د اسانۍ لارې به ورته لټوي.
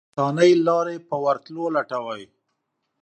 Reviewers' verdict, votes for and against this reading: rejected, 1, 2